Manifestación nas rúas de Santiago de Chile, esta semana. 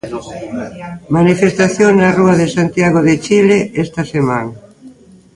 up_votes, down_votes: 0, 2